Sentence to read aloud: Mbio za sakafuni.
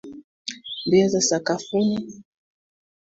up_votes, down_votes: 3, 1